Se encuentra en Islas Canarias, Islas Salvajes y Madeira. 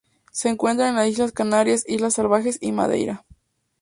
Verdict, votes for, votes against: rejected, 2, 2